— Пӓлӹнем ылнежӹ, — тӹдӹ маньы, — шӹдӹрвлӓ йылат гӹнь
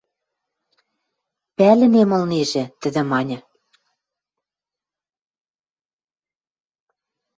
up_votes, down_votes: 0, 2